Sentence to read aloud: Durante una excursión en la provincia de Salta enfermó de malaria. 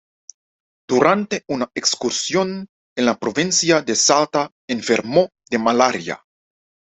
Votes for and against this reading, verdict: 2, 0, accepted